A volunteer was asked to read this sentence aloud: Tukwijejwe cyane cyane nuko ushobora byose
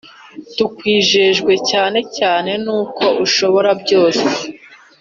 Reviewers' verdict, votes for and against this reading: accepted, 2, 0